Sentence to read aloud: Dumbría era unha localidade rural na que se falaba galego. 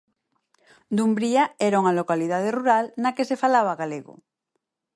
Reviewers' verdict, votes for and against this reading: accepted, 4, 0